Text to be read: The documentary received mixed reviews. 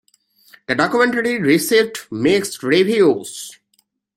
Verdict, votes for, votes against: accepted, 2, 0